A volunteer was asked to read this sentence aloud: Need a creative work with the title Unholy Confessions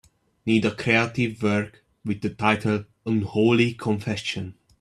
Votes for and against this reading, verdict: 1, 2, rejected